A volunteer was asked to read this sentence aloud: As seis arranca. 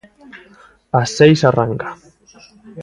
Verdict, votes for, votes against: rejected, 1, 2